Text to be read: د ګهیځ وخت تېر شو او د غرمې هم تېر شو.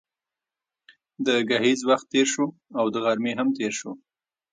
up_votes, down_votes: 1, 2